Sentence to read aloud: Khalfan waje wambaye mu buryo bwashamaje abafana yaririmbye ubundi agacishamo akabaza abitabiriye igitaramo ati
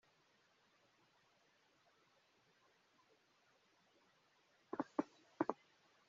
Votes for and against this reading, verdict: 0, 2, rejected